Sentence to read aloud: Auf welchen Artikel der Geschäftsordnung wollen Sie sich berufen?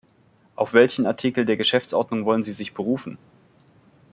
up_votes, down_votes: 2, 0